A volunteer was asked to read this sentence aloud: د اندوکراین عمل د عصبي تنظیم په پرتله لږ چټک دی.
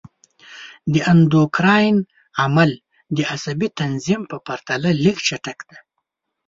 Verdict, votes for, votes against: accepted, 2, 0